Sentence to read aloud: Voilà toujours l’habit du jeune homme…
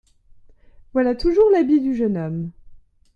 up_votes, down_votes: 2, 0